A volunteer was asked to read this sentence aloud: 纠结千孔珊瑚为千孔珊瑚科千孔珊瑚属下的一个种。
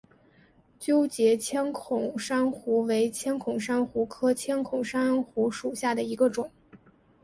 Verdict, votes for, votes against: accepted, 3, 0